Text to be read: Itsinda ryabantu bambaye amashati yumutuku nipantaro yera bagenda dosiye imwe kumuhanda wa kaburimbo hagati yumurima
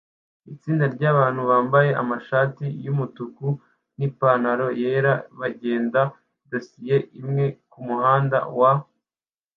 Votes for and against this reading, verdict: 0, 2, rejected